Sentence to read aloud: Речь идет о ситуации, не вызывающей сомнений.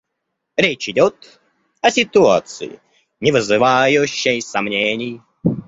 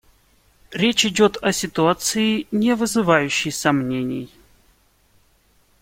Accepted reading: second